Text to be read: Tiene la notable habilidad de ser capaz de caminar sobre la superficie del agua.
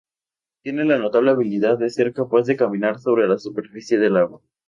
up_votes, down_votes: 2, 2